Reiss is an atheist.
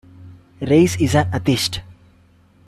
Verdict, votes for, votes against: rejected, 0, 2